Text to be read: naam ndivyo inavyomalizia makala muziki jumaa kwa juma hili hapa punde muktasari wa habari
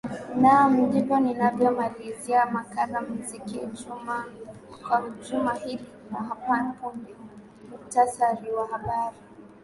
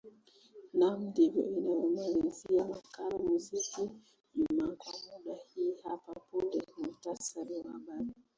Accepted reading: first